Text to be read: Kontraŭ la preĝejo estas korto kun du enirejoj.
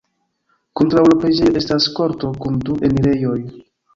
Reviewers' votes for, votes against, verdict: 3, 1, accepted